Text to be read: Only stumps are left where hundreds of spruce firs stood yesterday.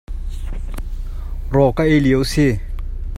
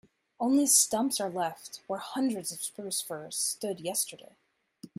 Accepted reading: second